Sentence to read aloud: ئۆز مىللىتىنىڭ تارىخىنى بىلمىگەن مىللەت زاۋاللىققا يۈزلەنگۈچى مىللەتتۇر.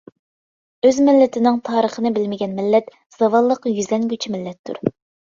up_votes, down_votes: 2, 0